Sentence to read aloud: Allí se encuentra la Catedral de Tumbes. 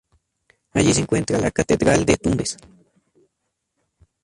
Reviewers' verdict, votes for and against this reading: rejected, 0, 2